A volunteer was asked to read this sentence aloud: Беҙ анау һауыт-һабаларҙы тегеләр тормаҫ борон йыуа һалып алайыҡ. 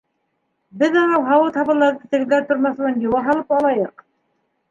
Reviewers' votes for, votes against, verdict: 2, 1, accepted